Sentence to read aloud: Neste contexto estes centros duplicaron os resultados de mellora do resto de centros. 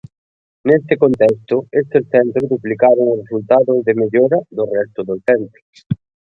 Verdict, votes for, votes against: rejected, 1, 2